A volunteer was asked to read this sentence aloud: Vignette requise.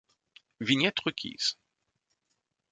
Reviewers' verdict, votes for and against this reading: accepted, 3, 0